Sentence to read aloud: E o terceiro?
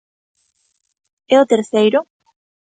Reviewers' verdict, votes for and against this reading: accepted, 2, 0